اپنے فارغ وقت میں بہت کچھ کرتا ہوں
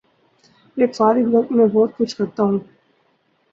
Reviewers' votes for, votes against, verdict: 4, 2, accepted